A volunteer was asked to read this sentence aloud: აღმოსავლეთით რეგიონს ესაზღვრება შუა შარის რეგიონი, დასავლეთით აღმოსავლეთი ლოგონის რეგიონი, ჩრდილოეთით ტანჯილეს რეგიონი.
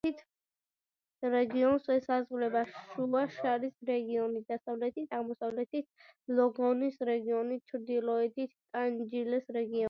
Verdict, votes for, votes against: rejected, 1, 2